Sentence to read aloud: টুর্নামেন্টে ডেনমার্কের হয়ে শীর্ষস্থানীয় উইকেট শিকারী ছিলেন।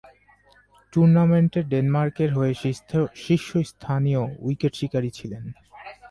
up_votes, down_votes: 12, 8